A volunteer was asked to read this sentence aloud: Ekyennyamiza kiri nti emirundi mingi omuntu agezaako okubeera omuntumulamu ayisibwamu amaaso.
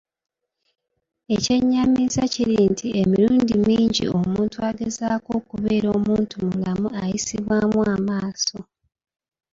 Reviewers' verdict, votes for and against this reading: rejected, 0, 2